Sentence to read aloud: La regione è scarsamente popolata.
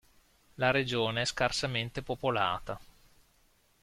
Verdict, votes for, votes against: accepted, 2, 0